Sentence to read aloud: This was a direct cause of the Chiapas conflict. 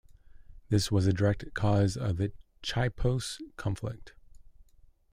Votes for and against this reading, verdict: 1, 2, rejected